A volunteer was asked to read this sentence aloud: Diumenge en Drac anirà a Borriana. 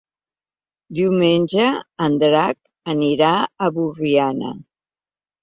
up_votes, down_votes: 3, 0